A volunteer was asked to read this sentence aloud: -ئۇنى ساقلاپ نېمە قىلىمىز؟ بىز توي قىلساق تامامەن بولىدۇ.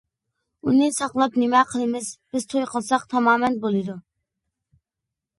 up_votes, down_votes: 2, 0